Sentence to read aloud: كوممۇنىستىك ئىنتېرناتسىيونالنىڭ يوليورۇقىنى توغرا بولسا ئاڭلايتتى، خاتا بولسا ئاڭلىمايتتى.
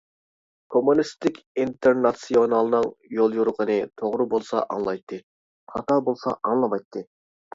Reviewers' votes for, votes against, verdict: 2, 0, accepted